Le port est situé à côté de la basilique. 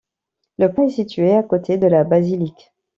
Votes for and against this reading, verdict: 0, 3, rejected